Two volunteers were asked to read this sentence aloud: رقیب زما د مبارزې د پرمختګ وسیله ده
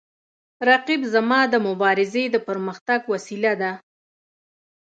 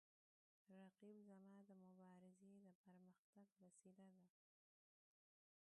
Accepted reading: first